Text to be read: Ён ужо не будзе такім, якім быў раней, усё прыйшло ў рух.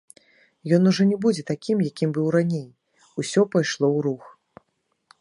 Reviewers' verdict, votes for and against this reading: rejected, 1, 2